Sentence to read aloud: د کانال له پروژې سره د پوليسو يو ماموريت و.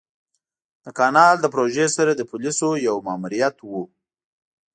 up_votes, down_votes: 2, 0